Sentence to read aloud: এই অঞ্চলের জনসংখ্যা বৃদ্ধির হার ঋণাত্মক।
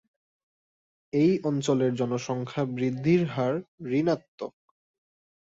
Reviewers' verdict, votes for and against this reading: accepted, 2, 0